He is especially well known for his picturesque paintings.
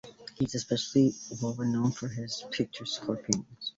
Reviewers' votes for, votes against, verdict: 2, 1, accepted